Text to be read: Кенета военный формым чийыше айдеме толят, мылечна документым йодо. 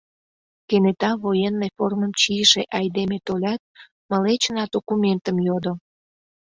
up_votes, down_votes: 2, 0